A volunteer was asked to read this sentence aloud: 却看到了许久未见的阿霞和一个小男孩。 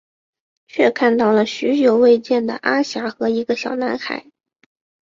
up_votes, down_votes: 3, 0